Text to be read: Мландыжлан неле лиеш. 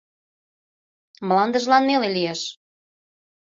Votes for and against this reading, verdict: 2, 0, accepted